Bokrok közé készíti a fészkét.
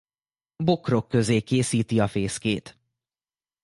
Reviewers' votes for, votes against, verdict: 2, 0, accepted